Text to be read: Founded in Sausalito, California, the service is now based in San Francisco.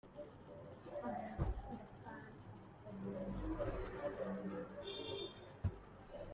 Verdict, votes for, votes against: rejected, 0, 2